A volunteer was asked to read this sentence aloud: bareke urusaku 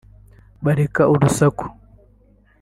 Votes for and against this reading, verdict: 0, 2, rejected